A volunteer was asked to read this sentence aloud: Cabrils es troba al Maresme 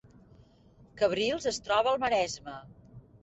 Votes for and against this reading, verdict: 3, 0, accepted